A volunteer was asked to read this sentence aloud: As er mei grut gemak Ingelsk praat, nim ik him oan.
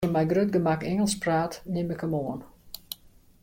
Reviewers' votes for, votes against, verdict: 1, 2, rejected